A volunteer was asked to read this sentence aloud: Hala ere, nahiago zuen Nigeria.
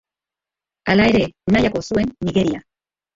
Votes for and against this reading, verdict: 2, 1, accepted